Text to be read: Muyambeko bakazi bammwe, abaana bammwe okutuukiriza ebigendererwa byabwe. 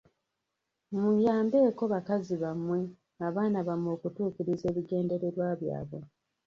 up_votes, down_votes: 1, 2